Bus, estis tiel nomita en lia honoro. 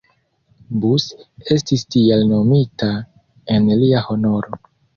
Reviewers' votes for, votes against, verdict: 2, 0, accepted